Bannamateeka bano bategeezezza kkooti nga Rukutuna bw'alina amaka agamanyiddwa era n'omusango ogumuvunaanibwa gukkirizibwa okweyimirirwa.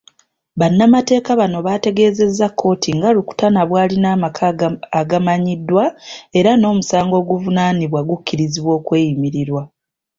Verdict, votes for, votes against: accepted, 2, 0